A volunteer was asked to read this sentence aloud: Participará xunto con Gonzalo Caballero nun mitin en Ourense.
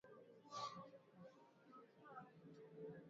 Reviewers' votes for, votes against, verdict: 0, 2, rejected